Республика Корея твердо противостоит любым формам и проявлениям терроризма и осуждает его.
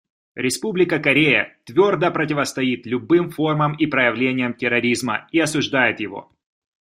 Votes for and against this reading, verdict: 2, 0, accepted